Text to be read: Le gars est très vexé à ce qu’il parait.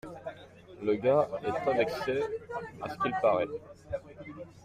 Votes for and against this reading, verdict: 2, 0, accepted